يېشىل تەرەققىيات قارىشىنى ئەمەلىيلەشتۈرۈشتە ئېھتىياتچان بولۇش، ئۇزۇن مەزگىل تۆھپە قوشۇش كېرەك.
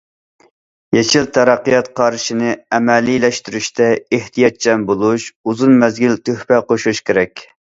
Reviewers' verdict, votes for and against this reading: accepted, 2, 0